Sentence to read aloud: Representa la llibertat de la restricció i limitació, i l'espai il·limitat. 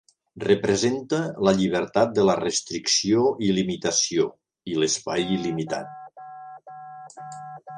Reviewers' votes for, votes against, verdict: 3, 0, accepted